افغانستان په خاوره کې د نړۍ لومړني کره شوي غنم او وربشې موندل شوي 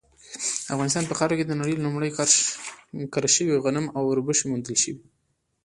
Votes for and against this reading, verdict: 0, 2, rejected